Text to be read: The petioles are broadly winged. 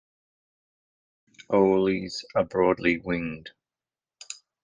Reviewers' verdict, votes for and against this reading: rejected, 1, 2